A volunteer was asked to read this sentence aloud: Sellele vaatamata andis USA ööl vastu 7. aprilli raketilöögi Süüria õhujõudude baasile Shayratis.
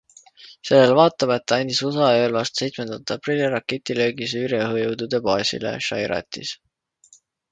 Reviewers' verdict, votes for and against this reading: rejected, 0, 2